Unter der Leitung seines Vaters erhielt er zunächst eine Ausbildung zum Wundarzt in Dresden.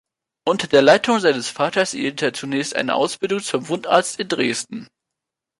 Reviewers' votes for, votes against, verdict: 1, 2, rejected